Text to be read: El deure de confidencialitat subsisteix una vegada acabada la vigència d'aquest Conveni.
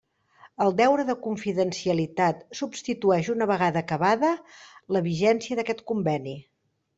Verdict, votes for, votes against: rejected, 1, 2